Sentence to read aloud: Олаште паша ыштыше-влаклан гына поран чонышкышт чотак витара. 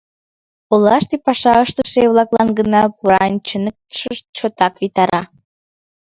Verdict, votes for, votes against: rejected, 0, 2